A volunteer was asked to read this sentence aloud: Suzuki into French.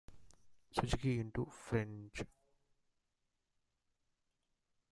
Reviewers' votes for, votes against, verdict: 2, 1, accepted